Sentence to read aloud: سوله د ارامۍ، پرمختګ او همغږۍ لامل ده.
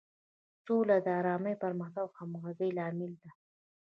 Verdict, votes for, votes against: accepted, 2, 1